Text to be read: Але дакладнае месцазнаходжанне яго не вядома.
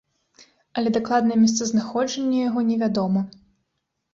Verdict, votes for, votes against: accepted, 2, 0